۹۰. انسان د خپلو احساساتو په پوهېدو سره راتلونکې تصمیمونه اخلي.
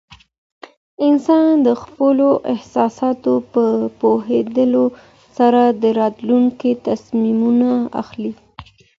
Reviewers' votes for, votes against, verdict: 0, 2, rejected